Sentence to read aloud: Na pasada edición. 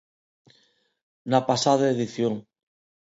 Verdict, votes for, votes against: accepted, 2, 0